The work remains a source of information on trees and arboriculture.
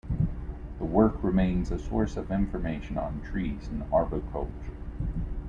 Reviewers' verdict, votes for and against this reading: accepted, 2, 0